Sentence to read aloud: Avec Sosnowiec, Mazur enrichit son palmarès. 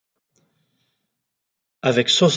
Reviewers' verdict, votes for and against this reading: rejected, 0, 2